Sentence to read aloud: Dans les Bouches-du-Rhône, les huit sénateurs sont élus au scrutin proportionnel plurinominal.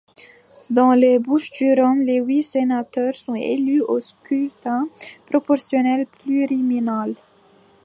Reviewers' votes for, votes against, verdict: 0, 2, rejected